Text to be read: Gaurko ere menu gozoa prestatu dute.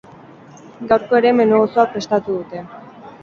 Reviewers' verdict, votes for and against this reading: accepted, 4, 2